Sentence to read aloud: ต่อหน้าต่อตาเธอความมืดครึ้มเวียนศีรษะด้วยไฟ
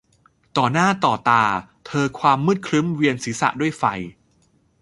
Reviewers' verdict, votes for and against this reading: accepted, 2, 0